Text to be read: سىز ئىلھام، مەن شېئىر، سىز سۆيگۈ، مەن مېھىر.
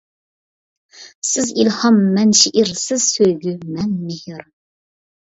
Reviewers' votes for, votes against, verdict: 2, 1, accepted